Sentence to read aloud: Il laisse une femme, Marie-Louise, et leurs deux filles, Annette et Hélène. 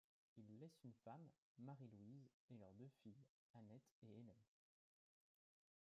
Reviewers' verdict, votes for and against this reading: accepted, 2, 1